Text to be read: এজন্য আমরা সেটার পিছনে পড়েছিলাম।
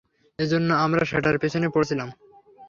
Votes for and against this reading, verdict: 3, 0, accepted